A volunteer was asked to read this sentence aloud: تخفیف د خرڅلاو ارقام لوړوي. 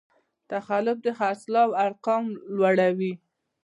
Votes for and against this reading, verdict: 1, 2, rejected